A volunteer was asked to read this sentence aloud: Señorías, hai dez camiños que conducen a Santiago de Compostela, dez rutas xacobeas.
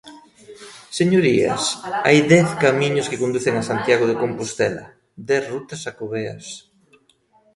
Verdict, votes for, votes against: accepted, 2, 1